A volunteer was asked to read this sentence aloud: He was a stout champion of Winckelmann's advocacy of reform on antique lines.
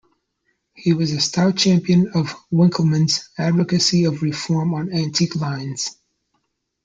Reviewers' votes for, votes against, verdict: 2, 0, accepted